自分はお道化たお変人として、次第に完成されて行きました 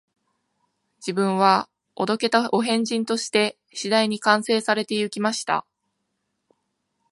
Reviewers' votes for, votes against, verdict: 2, 0, accepted